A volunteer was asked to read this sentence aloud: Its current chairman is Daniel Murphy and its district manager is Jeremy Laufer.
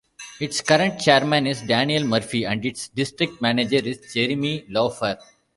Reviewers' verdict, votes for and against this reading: accepted, 2, 0